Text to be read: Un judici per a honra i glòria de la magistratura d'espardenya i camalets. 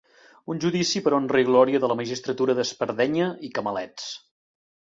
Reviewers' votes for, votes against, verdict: 2, 0, accepted